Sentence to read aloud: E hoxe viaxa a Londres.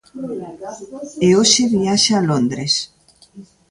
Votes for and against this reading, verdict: 2, 0, accepted